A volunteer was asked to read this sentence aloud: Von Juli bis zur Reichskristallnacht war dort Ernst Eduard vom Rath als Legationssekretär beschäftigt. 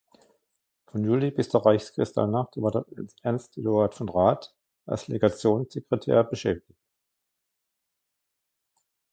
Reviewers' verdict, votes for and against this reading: rejected, 0, 2